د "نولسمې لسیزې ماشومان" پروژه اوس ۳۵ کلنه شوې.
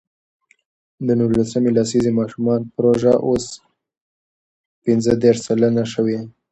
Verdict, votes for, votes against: rejected, 0, 2